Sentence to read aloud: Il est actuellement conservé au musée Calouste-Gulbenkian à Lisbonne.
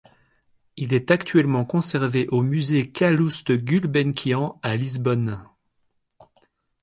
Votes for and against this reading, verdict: 2, 0, accepted